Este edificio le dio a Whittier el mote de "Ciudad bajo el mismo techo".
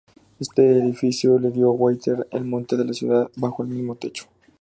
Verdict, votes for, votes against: rejected, 0, 2